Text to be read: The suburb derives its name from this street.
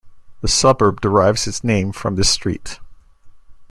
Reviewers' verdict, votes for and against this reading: accepted, 3, 2